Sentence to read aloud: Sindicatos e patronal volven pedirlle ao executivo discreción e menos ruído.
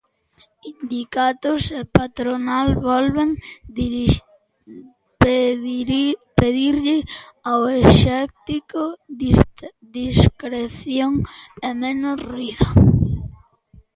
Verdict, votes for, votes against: rejected, 0, 3